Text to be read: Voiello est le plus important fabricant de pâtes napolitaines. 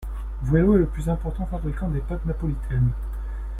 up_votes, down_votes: 0, 2